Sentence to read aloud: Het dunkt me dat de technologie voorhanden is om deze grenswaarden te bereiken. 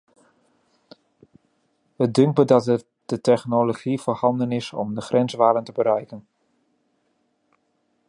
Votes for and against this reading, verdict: 0, 2, rejected